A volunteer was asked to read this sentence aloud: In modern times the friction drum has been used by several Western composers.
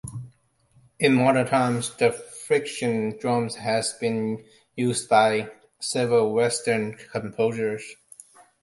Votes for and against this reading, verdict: 2, 1, accepted